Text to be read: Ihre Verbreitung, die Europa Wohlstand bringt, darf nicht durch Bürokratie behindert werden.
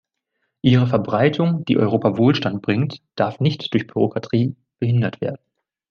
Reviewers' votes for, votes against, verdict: 1, 2, rejected